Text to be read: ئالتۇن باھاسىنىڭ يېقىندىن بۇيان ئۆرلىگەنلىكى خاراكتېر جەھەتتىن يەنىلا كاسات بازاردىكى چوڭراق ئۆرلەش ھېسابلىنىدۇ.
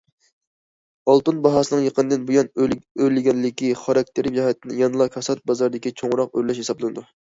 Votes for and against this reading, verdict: 2, 1, accepted